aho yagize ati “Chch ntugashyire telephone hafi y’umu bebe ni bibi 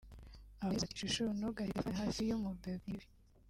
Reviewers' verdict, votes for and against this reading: rejected, 2, 4